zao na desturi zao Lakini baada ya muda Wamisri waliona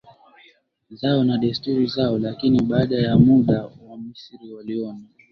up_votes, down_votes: 0, 3